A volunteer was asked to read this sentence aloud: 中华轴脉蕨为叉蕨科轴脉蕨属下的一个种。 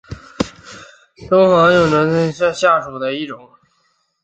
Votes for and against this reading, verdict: 1, 3, rejected